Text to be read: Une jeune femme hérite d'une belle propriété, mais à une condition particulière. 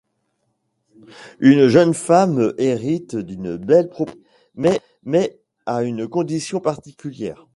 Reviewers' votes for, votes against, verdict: 0, 2, rejected